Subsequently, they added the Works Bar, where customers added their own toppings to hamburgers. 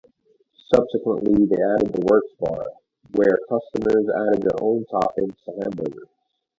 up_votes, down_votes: 2, 0